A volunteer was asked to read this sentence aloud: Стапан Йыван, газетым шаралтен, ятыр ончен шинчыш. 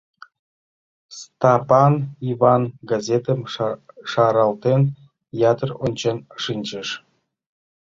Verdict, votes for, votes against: rejected, 0, 2